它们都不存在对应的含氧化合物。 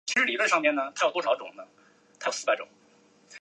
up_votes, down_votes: 0, 3